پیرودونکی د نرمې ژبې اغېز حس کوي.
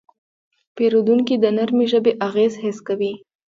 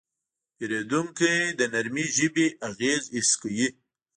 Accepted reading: first